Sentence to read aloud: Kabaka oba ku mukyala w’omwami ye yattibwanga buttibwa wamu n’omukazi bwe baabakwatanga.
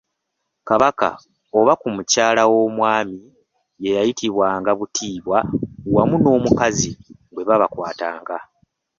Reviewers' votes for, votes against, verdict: 2, 1, accepted